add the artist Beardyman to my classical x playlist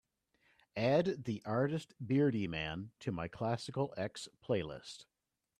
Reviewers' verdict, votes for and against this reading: accepted, 2, 0